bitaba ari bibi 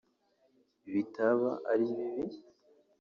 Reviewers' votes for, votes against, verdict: 2, 0, accepted